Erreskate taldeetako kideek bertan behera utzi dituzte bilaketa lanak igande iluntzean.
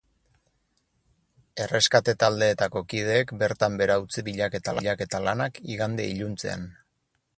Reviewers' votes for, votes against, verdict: 0, 4, rejected